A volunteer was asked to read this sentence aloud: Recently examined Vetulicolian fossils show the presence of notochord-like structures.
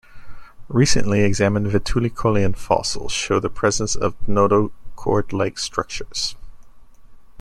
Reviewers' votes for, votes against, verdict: 2, 0, accepted